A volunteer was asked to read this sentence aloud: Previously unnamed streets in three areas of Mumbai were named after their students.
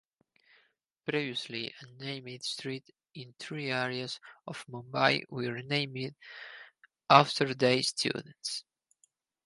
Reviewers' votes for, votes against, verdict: 0, 2, rejected